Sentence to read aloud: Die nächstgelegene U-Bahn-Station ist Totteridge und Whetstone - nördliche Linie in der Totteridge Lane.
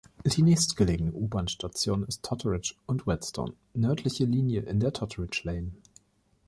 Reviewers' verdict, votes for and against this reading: accepted, 3, 0